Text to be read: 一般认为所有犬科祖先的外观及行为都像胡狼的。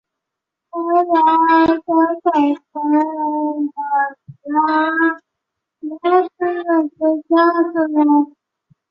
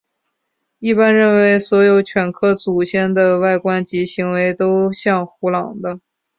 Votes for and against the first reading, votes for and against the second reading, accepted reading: 0, 2, 2, 0, second